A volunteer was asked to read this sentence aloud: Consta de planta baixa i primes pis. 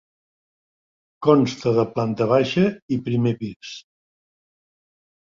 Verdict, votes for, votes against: accepted, 2, 1